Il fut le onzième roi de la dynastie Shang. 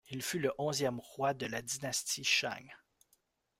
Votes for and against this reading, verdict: 0, 2, rejected